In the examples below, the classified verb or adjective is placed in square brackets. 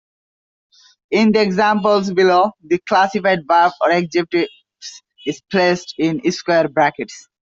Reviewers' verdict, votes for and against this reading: accepted, 2, 1